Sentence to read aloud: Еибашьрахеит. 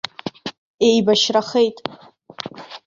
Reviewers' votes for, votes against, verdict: 2, 0, accepted